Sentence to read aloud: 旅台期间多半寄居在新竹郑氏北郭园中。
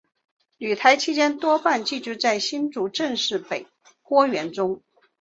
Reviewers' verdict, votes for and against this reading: accepted, 5, 0